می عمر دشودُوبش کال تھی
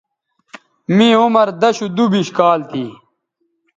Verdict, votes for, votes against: accepted, 2, 0